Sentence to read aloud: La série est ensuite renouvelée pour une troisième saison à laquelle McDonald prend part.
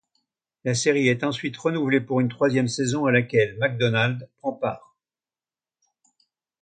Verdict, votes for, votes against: accepted, 2, 0